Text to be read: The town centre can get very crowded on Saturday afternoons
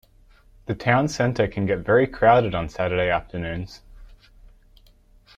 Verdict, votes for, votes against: accepted, 2, 0